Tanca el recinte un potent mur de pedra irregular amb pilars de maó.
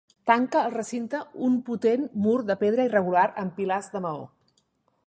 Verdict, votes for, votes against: accepted, 2, 0